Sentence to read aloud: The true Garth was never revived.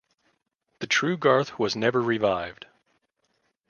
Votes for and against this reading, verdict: 2, 0, accepted